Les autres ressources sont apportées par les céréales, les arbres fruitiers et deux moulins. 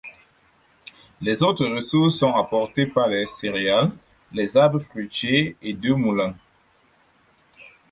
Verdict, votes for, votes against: accepted, 4, 0